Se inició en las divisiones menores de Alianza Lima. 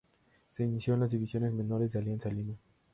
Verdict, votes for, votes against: accepted, 2, 0